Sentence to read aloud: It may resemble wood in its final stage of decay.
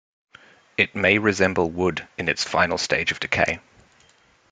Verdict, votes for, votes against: accepted, 2, 0